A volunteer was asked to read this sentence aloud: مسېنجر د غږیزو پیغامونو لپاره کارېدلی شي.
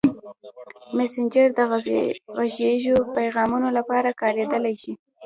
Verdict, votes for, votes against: rejected, 0, 2